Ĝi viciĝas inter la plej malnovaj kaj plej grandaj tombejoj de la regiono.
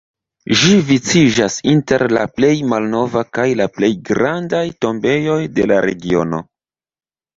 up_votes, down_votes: 2, 1